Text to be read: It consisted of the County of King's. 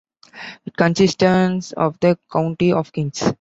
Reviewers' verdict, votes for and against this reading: accepted, 2, 1